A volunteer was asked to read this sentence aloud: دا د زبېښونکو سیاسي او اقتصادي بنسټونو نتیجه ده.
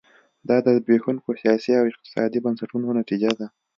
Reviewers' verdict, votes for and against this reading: accepted, 3, 0